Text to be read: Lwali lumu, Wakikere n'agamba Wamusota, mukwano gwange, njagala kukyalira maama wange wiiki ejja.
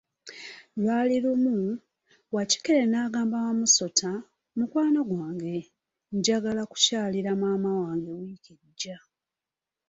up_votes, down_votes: 2, 1